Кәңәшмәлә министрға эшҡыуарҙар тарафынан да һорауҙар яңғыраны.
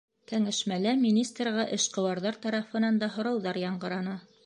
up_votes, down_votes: 2, 0